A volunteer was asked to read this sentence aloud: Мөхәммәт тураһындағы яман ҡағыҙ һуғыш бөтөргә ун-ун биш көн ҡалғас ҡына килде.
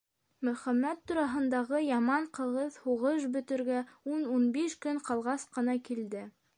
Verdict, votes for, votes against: rejected, 0, 2